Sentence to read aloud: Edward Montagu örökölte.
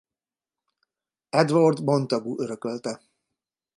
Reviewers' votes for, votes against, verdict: 0, 2, rejected